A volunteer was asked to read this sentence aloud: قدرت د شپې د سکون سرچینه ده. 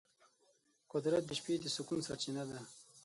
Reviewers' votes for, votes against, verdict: 12, 0, accepted